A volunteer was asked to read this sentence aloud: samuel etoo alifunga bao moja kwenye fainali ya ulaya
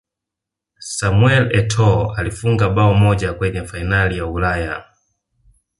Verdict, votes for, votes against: accepted, 2, 0